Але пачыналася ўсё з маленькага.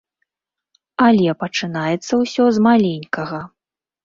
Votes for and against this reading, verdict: 1, 2, rejected